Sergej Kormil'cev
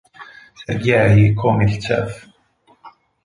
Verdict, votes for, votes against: rejected, 0, 4